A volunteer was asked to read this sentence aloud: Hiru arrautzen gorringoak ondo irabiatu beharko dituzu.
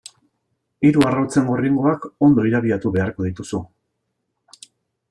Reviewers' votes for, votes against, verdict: 2, 0, accepted